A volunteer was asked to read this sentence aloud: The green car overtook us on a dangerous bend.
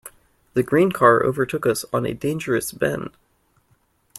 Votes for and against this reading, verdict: 2, 0, accepted